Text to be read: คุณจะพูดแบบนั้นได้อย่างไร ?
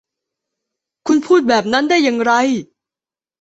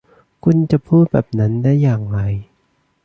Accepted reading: second